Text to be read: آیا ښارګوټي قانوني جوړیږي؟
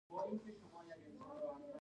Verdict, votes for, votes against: rejected, 0, 2